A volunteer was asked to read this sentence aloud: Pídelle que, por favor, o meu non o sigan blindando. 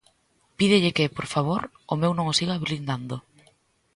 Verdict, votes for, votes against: accepted, 2, 0